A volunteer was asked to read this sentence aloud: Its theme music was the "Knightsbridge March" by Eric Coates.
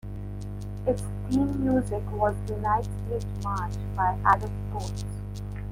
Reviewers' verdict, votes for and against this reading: rejected, 1, 2